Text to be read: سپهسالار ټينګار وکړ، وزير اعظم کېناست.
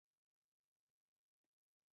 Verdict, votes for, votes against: rejected, 0, 6